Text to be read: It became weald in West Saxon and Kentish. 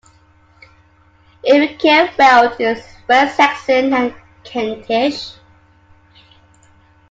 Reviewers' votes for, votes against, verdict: 0, 2, rejected